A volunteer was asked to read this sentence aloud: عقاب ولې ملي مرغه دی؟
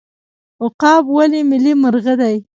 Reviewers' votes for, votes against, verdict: 2, 0, accepted